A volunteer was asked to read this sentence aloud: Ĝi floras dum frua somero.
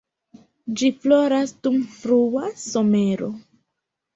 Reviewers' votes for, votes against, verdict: 2, 0, accepted